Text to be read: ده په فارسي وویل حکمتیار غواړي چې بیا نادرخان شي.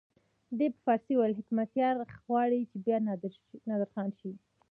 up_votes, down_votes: 0, 2